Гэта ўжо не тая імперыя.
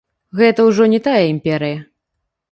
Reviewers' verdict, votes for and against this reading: accepted, 2, 0